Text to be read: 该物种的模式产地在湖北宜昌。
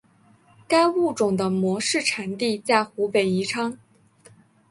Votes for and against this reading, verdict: 3, 0, accepted